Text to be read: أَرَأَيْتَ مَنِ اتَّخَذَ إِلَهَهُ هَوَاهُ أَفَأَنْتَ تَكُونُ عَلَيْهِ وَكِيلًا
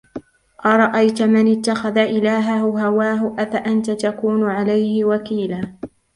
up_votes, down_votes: 2, 0